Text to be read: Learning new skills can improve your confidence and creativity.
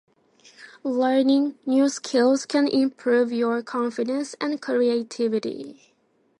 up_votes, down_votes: 2, 0